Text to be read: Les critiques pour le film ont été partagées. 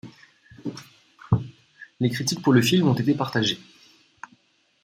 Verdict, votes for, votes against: accepted, 2, 1